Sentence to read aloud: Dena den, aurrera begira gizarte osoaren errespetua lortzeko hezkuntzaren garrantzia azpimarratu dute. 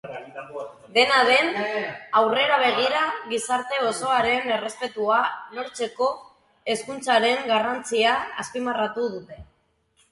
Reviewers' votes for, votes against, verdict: 3, 1, accepted